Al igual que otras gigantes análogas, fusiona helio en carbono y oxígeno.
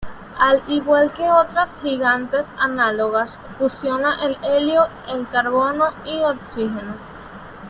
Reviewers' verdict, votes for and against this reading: rejected, 0, 2